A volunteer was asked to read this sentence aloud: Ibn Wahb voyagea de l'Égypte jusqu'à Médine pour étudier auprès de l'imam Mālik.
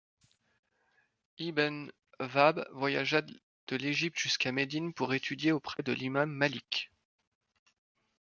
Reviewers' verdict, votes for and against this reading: rejected, 1, 2